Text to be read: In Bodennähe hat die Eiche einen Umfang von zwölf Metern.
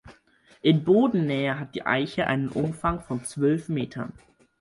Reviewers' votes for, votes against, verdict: 4, 0, accepted